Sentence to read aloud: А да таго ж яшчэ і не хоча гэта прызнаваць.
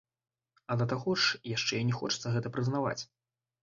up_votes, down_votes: 0, 2